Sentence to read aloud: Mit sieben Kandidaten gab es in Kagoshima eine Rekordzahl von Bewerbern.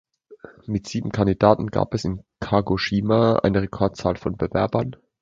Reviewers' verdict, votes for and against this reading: accepted, 2, 0